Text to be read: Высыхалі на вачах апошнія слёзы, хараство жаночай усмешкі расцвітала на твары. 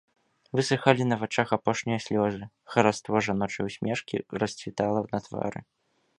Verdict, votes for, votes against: accepted, 2, 0